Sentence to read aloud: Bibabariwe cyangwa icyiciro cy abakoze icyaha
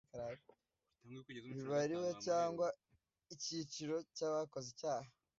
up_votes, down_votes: 0, 2